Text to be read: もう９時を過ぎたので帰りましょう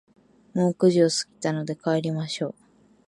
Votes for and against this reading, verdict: 0, 2, rejected